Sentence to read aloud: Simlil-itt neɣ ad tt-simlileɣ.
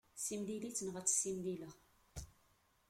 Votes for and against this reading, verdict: 1, 2, rejected